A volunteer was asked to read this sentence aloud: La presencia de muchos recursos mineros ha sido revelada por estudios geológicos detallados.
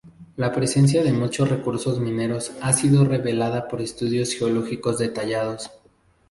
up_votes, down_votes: 0, 2